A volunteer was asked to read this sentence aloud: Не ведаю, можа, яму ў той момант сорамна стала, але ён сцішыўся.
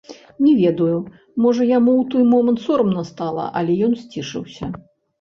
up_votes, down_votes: 0, 2